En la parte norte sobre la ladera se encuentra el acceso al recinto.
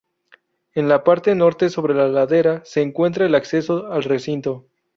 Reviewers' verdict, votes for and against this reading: rejected, 2, 2